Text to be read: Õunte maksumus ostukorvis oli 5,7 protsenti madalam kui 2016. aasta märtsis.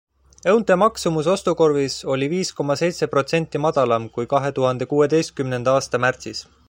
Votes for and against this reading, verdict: 0, 2, rejected